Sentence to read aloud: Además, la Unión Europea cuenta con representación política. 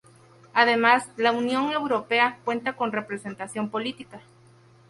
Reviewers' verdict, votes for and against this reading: accepted, 2, 0